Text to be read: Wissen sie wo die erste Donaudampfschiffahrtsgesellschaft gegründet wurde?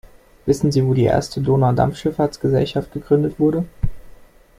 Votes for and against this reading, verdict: 2, 0, accepted